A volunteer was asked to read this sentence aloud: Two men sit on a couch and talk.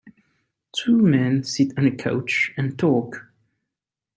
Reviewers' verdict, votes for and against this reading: accepted, 4, 0